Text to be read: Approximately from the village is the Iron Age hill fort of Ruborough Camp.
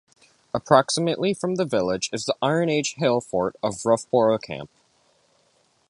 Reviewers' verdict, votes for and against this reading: rejected, 1, 2